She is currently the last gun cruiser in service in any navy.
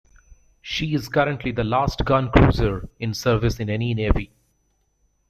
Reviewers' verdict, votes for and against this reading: accepted, 2, 0